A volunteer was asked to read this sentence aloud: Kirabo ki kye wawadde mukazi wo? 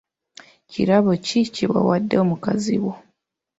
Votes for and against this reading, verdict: 1, 2, rejected